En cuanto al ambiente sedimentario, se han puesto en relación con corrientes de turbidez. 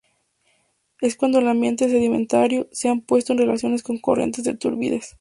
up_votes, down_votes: 0, 2